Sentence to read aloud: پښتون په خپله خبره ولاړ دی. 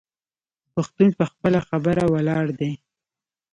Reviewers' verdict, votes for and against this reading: accepted, 2, 0